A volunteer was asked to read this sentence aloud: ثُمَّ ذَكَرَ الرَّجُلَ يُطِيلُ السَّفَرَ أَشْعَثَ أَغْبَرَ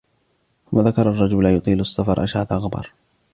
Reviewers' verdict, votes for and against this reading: rejected, 1, 2